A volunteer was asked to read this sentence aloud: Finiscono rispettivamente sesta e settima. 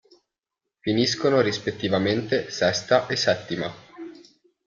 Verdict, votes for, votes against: accepted, 2, 0